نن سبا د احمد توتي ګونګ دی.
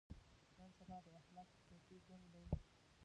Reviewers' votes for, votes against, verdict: 1, 2, rejected